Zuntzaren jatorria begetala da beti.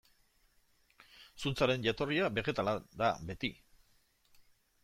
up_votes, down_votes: 1, 2